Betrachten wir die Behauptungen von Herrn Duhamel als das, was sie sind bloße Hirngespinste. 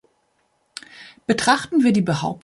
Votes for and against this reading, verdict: 0, 2, rejected